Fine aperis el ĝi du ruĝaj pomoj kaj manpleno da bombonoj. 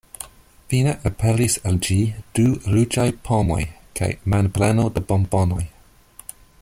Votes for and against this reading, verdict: 1, 2, rejected